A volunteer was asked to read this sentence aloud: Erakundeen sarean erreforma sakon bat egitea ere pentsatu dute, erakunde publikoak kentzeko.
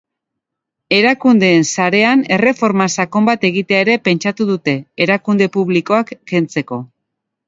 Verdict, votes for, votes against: accepted, 2, 0